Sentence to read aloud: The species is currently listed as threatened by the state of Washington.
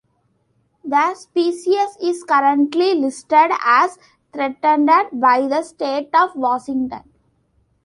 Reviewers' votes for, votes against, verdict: 2, 1, accepted